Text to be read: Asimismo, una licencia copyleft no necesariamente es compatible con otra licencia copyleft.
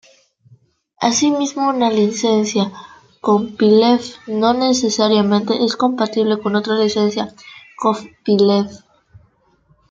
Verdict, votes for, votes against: rejected, 0, 2